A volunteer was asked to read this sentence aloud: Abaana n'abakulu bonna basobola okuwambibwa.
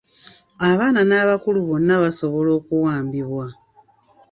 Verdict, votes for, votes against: accepted, 2, 1